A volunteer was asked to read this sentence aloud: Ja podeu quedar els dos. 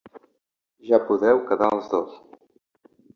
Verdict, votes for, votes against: accepted, 3, 0